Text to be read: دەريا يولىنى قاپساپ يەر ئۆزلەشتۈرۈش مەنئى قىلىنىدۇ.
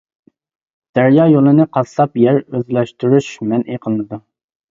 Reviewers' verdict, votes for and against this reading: rejected, 0, 2